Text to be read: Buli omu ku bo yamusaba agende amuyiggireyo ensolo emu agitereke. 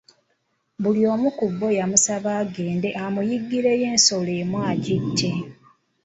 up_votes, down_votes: 0, 2